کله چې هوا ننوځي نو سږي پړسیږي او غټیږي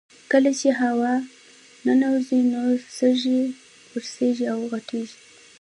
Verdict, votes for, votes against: accepted, 2, 0